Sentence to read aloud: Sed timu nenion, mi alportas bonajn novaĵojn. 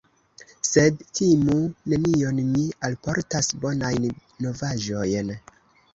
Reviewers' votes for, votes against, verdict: 0, 2, rejected